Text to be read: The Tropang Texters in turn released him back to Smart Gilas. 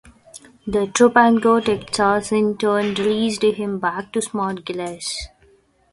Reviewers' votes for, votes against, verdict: 0, 2, rejected